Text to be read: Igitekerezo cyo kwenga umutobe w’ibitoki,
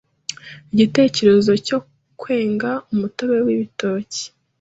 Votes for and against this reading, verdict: 2, 0, accepted